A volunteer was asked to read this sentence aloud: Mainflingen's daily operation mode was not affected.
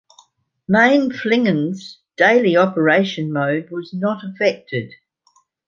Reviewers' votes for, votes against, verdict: 2, 0, accepted